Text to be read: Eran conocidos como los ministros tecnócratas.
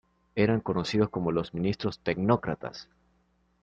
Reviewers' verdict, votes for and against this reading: accepted, 2, 0